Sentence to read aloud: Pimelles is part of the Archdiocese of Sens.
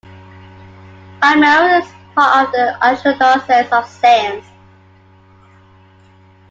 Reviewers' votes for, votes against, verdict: 0, 2, rejected